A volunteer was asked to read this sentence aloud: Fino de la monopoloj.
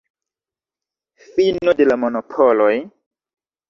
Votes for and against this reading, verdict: 0, 2, rejected